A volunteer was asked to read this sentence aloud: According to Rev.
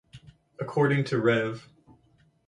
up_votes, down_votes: 2, 2